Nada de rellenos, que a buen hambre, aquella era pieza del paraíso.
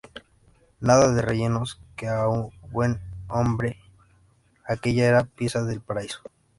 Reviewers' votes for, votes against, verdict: 0, 2, rejected